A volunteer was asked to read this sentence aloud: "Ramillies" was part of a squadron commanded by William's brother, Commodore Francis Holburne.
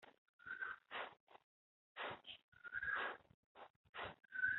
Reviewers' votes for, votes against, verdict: 0, 2, rejected